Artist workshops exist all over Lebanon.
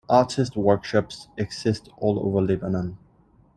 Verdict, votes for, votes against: accepted, 2, 0